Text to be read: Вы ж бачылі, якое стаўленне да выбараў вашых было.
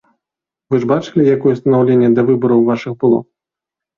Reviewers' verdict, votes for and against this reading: accepted, 2, 0